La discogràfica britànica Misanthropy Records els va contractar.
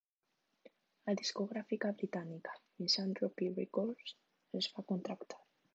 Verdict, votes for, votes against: rejected, 1, 2